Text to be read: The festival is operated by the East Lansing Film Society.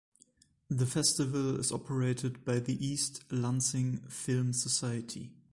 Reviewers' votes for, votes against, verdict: 2, 0, accepted